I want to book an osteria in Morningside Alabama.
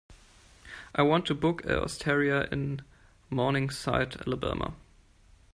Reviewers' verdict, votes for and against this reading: accepted, 2, 0